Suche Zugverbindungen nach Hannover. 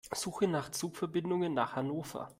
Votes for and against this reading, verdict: 0, 2, rejected